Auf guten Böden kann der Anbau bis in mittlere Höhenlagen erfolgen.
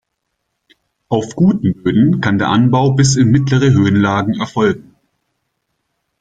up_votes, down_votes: 1, 2